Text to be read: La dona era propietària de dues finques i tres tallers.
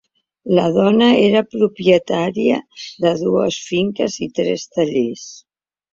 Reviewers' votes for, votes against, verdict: 3, 0, accepted